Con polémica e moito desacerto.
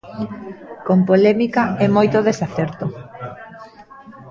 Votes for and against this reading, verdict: 2, 0, accepted